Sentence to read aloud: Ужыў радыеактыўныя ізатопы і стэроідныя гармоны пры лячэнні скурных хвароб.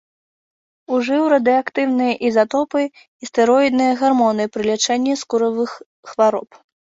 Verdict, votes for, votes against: rejected, 0, 2